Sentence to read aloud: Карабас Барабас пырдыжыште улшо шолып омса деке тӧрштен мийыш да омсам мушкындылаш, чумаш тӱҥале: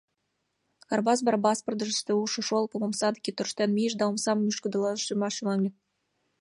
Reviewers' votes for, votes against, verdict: 1, 2, rejected